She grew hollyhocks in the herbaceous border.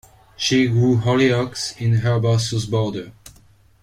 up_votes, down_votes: 0, 2